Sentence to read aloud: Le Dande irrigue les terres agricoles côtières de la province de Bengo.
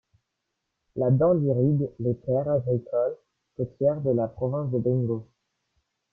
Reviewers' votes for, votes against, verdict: 1, 2, rejected